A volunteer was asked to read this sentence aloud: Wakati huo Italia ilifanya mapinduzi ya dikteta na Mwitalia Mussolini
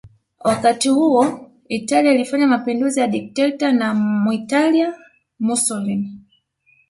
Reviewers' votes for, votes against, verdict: 0, 2, rejected